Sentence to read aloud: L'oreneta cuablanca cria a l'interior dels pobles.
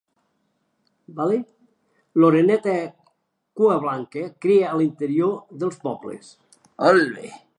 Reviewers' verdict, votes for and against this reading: rejected, 1, 3